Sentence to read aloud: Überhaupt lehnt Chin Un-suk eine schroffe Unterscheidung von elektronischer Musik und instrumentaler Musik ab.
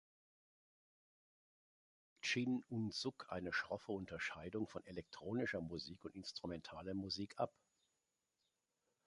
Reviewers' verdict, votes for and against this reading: rejected, 0, 3